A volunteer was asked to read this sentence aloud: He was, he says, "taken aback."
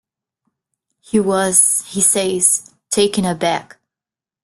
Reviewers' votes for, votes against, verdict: 2, 0, accepted